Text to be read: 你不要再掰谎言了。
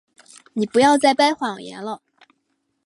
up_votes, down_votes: 4, 0